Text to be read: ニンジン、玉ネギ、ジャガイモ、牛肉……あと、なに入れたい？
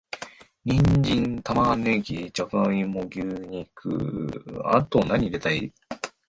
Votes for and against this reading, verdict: 1, 2, rejected